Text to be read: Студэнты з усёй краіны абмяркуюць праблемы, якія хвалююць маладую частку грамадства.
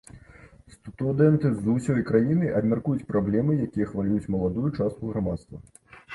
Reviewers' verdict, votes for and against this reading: accepted, 2, 0